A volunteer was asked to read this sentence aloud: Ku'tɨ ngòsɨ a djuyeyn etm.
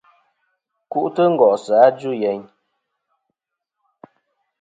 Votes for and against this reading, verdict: 2, 0, accepted